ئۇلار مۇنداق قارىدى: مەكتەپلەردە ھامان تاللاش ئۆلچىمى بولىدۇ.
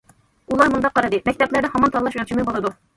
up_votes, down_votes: 2, 0